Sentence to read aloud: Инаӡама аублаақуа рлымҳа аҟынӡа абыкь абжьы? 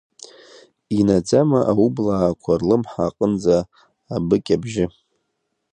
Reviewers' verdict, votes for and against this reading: rejected, 0, 2